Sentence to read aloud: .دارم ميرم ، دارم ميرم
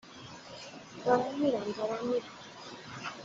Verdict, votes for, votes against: rejected, 0, 2